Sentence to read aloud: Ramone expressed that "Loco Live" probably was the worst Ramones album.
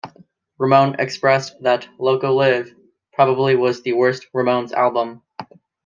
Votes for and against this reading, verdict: 1, 2, rejected